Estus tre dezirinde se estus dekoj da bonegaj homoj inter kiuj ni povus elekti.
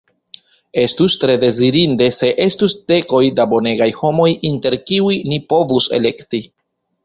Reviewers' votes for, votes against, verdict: 1, 2, rejected